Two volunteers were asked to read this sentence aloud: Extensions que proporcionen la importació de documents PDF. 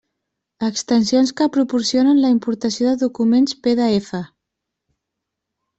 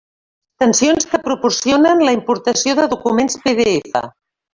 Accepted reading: first